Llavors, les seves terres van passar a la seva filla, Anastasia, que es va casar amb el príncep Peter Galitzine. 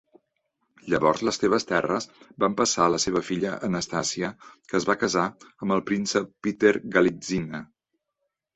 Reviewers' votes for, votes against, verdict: 2, 1, accepted